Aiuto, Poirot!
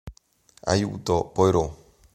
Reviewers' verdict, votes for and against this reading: rejected, 1, 2